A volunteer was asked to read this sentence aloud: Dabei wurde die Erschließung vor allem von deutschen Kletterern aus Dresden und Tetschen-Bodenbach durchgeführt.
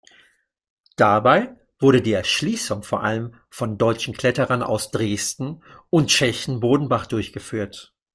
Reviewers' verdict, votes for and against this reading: rejected, 0, 2